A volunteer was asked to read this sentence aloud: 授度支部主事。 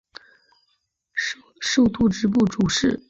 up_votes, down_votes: 9, 0